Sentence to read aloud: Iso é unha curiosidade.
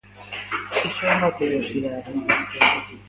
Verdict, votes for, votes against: rejected, 1, 2